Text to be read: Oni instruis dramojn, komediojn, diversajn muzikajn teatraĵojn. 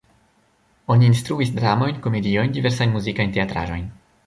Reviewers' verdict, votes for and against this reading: rejected, 1, 2